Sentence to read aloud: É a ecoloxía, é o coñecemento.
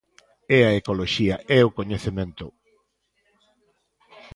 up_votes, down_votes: 2, 0